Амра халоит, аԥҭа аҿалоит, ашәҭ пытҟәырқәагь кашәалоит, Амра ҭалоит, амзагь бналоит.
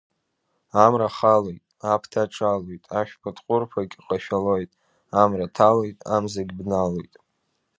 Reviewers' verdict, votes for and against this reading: rejected, 1, 2